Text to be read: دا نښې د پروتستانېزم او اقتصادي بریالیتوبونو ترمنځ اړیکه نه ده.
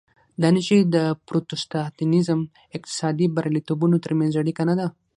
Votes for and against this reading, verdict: 6, 3, accepted